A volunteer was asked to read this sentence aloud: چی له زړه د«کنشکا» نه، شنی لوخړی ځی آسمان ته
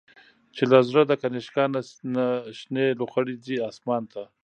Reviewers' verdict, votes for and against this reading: rejected, 0, 2